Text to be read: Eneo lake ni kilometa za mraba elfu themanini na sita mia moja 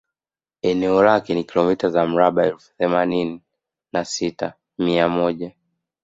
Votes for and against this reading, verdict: 2, 1, accepted